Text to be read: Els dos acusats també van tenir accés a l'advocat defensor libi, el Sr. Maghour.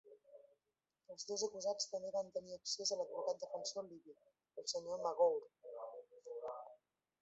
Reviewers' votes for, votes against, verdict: 1, 2, rejected